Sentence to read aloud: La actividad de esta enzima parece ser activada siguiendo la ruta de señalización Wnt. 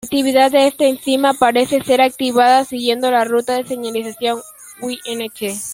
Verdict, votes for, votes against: accepted, 2, 0